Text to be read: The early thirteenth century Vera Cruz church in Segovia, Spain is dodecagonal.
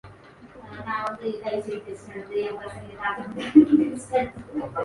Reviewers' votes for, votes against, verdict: 0, 2, rejected